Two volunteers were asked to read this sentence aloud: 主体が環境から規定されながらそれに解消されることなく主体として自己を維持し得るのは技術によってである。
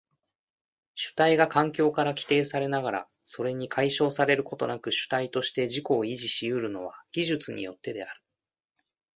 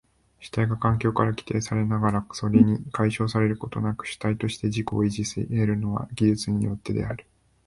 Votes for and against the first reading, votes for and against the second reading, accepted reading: 2, 0, 2, 3, first